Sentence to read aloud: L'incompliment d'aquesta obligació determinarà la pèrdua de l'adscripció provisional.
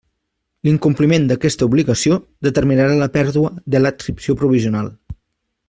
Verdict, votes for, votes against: rejected, 1, 2